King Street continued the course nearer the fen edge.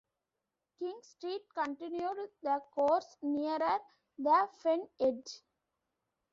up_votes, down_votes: 1, 2